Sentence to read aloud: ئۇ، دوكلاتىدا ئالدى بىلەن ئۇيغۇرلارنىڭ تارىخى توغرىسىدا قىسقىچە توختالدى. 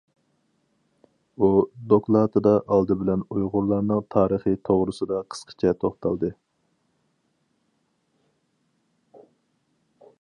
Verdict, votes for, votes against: accepted, 2, 0